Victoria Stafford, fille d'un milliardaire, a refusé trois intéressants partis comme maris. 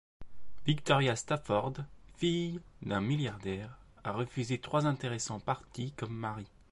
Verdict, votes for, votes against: rejected, 1, 2